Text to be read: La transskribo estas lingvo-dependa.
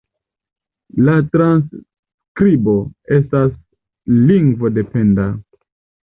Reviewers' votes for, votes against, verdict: 2, 0, accepted